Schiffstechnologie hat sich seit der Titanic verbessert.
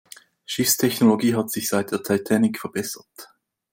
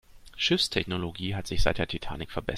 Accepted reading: first